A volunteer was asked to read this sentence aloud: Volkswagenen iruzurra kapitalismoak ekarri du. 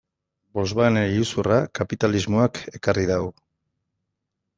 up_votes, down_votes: 1, 2